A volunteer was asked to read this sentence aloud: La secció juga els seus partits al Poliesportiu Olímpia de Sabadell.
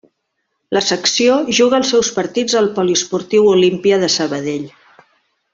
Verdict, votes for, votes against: accepted, 2, 0